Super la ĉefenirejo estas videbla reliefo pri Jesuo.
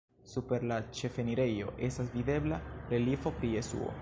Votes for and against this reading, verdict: 1, 2, rejected